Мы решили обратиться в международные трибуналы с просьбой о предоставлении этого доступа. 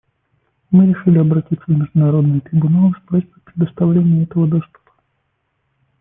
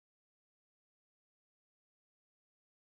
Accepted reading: first